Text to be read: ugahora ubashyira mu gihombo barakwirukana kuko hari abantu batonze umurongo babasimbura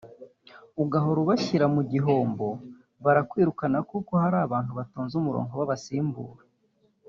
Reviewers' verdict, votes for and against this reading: rejected, 1, 2